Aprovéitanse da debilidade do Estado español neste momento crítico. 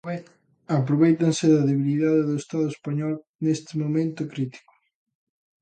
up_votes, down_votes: 1, 2